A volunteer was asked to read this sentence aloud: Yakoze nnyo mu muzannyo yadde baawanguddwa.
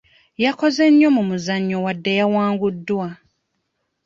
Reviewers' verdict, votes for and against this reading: rejected, 0, 2